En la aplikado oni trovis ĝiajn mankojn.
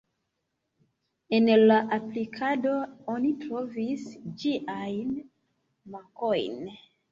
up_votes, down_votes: 1, 2